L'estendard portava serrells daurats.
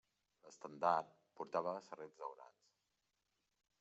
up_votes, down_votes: 1, 2